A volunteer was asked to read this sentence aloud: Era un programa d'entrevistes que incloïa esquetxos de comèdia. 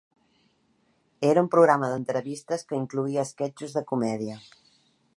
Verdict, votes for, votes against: accepted, 2, 0